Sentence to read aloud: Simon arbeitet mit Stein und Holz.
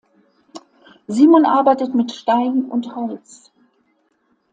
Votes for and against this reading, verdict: 2, 0, accepted